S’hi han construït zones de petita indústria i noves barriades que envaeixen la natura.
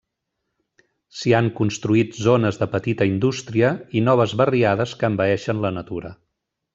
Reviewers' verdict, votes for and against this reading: accepted, 3, 0